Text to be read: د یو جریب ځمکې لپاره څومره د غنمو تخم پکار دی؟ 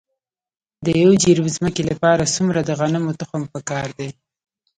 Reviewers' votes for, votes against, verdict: 2, 1, accepted